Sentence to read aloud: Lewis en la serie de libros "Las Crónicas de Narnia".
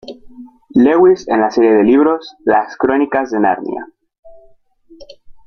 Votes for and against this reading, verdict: 2, 0, accepted